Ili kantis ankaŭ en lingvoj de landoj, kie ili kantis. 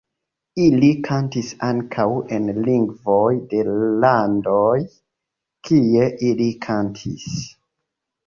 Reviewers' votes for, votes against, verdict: 2, 1, accepted